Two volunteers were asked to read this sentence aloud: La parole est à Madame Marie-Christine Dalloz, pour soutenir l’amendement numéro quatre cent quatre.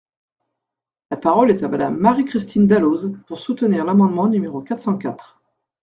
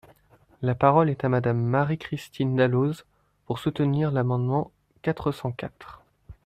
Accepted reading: first